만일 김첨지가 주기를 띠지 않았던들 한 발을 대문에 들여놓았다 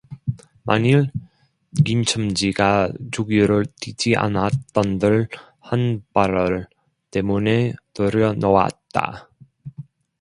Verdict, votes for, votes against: rejected, 0, 2